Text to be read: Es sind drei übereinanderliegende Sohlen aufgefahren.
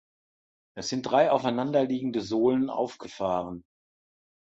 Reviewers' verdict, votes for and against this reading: rejected, 0, 2